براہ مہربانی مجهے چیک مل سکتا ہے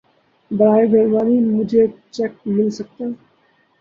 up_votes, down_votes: 2, 2